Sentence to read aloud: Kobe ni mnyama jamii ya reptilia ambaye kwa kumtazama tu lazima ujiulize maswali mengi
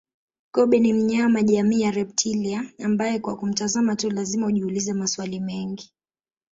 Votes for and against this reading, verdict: 0, 2, rejected